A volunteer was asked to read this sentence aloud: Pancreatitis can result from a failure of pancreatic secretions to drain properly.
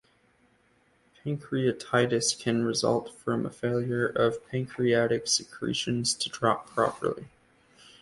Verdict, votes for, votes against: rejected, 0, 2